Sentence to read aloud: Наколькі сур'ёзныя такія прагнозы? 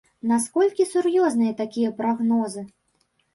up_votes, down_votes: 1, 2